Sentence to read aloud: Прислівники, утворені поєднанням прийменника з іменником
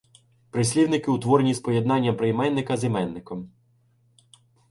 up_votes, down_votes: 0, 2